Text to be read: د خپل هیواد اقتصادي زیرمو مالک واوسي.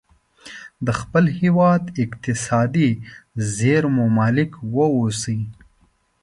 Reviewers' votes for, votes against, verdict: 2, 0, accepted